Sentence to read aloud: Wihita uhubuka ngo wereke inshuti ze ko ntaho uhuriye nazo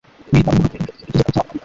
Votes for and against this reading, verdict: 0, 2, rejected